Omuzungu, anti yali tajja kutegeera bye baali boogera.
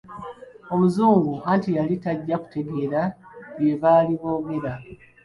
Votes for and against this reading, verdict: 2, 1, accepted